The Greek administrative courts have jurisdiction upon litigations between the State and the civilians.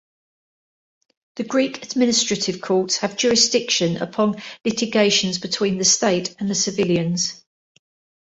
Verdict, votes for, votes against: accepted, 2, 0